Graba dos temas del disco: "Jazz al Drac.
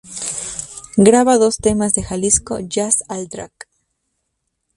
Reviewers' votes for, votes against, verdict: 2, 0, accepted